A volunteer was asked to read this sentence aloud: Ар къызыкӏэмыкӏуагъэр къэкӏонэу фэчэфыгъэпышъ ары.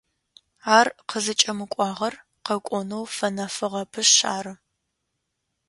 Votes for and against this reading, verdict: 0, 2, rejected